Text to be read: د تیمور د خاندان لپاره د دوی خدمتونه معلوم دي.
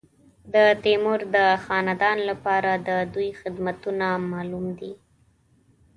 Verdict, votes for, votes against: accepted, 2, 0